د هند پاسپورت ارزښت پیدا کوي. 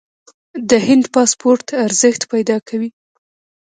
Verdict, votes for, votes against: accepted, 2, 1